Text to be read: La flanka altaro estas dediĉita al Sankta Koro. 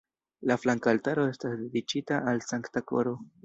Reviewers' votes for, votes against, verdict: 3, 2, accepted